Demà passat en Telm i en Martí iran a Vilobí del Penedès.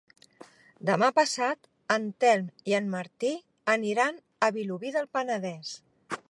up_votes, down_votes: 1, 3